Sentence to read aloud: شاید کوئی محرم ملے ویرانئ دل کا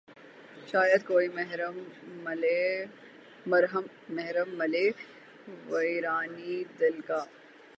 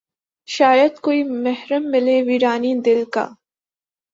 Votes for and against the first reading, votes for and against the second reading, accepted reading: 0, 12, 6, 0, second